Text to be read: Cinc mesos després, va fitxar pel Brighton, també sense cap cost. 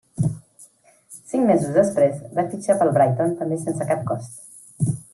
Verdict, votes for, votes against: rejected, 1, 2